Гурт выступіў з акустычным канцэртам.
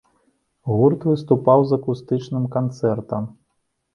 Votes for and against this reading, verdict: 0, 2, rejected